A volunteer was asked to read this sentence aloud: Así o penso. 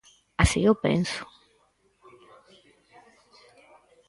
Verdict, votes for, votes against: accepted, 4, 0